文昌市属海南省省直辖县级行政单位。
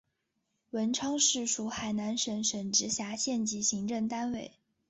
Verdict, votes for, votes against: accepted, 5, 0